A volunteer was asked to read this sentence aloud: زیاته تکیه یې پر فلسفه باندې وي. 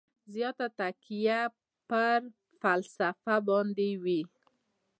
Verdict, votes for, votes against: accepted, 2, 0